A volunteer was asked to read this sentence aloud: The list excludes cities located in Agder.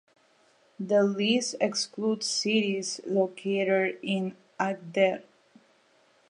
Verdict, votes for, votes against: accepted, 2, 0